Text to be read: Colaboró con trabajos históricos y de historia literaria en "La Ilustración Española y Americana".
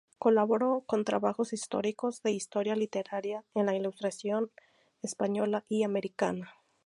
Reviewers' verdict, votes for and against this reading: rejected, 0, 2